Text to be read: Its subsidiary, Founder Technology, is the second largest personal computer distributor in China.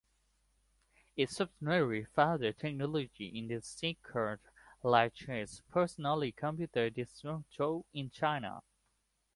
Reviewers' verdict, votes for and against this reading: rejected, 1, 2